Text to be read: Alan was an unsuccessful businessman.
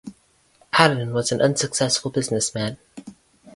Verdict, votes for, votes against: accepted, 8, 2